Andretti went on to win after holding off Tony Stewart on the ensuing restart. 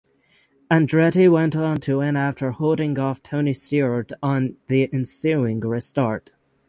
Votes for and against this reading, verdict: 6, 0, accepted